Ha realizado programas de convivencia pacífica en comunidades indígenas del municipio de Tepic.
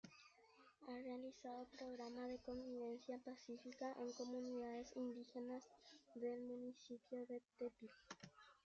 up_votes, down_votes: 1, 2